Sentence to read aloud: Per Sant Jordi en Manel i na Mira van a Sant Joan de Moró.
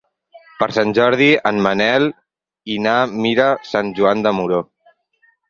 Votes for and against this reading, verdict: 0, 4, rejected